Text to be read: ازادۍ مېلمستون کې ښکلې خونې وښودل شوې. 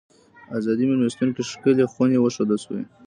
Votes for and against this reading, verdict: 2, 0, accepted